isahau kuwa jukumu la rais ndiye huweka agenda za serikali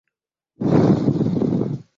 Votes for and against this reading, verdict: 0, 2, rejected